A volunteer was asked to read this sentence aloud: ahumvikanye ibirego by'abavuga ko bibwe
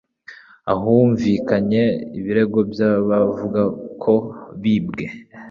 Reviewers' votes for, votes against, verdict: 2, 0, accepted